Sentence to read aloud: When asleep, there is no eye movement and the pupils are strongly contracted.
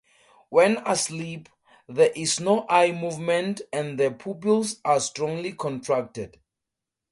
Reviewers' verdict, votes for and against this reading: accepted, 4, 0